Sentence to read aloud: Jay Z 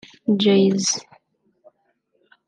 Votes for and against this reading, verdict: 1, 2, rejected